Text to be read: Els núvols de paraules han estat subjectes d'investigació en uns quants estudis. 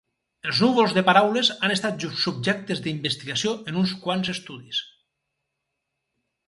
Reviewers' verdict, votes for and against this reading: rejected, 0, 4